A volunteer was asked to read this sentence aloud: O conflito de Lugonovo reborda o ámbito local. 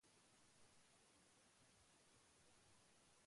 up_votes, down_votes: 0, 2